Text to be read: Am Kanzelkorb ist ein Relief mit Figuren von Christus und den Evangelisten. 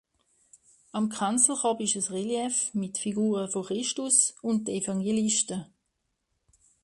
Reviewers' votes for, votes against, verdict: 1, 2, rejected